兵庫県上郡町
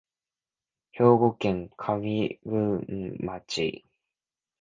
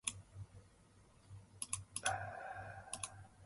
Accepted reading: first